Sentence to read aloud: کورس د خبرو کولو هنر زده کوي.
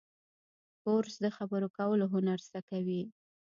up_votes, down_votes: 1, 2